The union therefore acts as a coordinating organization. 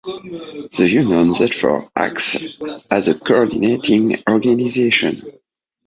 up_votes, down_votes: 2, 0